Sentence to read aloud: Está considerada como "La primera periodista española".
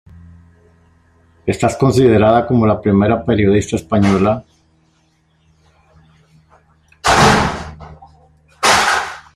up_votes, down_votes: 1, 2